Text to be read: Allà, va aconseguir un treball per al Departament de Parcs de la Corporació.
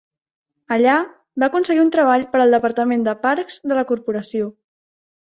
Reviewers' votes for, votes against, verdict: 3, 0, accepted